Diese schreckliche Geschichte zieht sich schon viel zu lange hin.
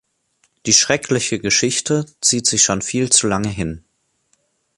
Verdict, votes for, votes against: rejected, 0, 2